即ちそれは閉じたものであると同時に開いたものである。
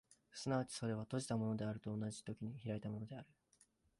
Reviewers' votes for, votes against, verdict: 0, 2, rejected